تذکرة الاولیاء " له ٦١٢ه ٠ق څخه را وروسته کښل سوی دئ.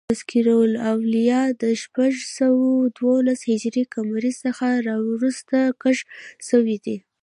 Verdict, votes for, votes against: rejected, 0, 2